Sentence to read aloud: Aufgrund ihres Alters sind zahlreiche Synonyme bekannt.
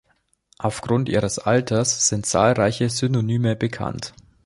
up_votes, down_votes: 2, 0